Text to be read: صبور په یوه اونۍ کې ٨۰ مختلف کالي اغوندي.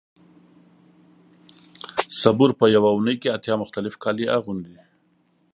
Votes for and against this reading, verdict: 0, 2, rejected